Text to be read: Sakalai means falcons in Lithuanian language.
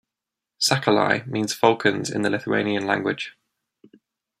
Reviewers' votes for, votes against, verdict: 1, 2, rejected